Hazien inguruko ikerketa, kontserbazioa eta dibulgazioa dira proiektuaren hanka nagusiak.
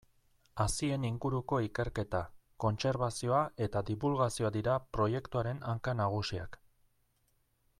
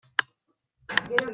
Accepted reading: first